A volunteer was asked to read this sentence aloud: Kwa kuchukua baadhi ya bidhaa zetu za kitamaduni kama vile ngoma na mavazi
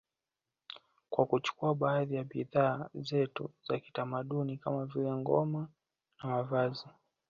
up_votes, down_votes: 2, 0